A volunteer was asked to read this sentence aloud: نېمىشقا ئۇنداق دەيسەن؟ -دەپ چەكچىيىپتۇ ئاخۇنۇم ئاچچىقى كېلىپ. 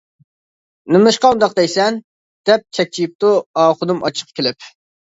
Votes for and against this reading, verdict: 0, 2, rejected